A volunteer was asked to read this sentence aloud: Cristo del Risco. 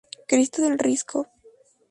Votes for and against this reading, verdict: 2, 0, accepted